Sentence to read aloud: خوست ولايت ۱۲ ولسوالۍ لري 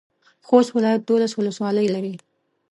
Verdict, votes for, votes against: rejected, 0, 2